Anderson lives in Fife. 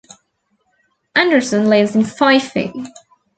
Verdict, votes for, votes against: accepted, 2, 0